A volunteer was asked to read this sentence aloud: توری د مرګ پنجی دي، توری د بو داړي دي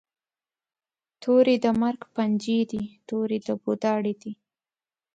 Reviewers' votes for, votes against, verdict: 3, 0, accepted